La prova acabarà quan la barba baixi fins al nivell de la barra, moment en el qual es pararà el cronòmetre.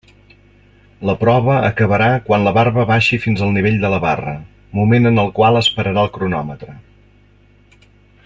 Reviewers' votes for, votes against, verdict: 2, 0, accepted